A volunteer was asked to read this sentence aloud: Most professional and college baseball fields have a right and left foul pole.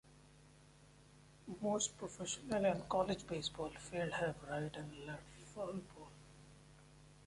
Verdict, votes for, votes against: rejected, 0, 2